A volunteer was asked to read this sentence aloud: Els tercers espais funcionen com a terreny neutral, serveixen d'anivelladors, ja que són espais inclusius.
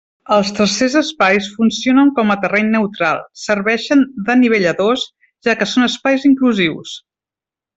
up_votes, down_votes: 2, 0